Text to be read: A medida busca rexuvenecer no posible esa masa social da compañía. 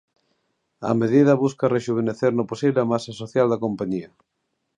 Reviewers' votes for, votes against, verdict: 0, 2, rejected